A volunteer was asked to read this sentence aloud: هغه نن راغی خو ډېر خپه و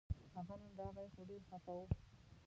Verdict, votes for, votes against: rejected, 0, 2